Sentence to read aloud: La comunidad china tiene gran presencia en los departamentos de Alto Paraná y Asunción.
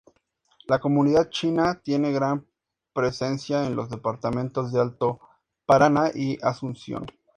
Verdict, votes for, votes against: accepted, 4, 0